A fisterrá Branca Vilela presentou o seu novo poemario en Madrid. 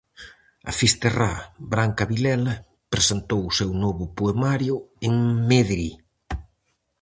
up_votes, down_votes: 0, 4